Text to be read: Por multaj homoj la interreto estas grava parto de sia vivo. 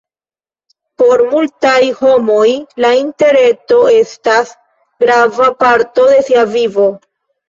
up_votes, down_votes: 2, 3